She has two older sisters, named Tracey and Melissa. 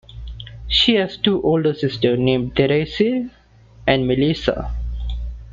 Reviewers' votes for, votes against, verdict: 2, 0, accepted